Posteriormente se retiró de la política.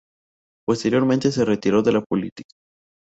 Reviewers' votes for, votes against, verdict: 2, 0, accepted